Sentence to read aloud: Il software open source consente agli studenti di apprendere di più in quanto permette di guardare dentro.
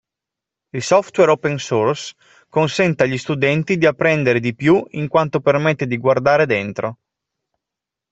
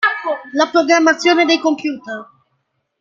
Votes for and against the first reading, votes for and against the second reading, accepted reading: 2, 0, 0, 3, first